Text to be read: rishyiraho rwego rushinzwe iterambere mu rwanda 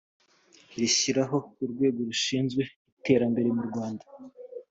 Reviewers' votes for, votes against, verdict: 2, 0, accepted